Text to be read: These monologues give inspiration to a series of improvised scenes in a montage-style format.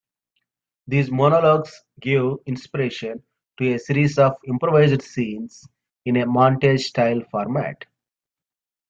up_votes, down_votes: 1, 2